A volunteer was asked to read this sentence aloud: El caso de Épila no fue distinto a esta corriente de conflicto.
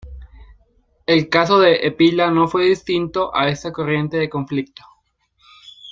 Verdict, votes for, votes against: rejected, 1, 2